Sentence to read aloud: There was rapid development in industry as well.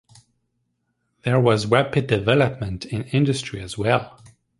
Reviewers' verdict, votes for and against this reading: rejected, 0, 2